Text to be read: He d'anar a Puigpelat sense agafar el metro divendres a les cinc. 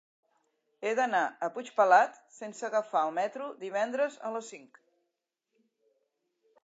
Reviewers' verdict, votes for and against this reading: accepted, 3, 0